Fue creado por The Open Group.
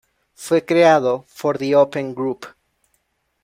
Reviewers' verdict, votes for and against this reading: rejected, 1, 2